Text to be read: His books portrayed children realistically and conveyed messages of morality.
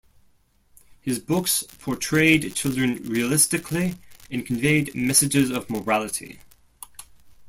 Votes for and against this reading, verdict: 2, 0, accepted